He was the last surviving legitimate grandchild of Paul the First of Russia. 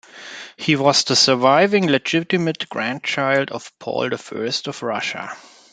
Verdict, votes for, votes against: rejected, 0, 2